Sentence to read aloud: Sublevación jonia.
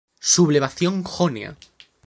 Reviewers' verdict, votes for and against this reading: accepted, 2, 0